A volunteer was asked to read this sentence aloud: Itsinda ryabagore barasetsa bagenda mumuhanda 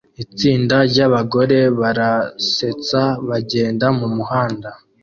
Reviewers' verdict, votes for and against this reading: accepted, 2, 0